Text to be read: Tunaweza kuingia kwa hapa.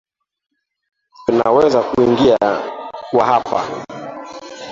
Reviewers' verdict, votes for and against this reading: accepted, 2, 0